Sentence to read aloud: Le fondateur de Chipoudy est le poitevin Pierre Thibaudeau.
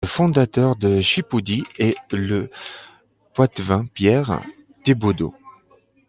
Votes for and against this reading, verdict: 2, 0, accepted